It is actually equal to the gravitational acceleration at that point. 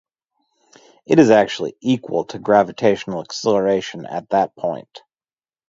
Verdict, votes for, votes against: rejected, 0, 2